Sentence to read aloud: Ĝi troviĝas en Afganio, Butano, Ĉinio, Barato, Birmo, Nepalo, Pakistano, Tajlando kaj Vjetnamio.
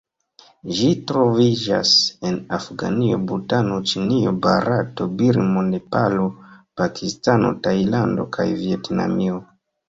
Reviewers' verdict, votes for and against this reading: accepted, 2, 0